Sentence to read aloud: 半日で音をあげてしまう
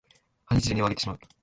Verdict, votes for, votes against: rejected, 0, 2